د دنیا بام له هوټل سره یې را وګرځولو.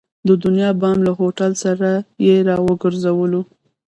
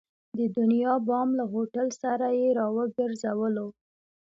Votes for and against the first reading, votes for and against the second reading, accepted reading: 1, 2, 2, 1, second